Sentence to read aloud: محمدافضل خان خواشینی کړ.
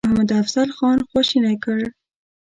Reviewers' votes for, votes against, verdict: 0, 2, rejected